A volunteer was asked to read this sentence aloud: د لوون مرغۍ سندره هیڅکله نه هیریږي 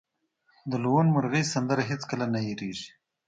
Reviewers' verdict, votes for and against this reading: accepted, 2, 0